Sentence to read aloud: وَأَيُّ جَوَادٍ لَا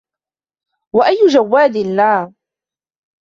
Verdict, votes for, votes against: rejected, 1, 2